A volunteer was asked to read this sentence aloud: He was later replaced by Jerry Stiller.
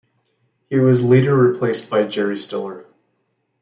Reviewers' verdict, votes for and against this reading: accepted, 2, 1